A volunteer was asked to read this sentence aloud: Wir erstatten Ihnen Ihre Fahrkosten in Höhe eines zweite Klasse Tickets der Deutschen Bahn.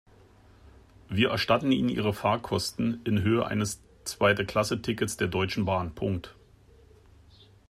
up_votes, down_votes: 0, 2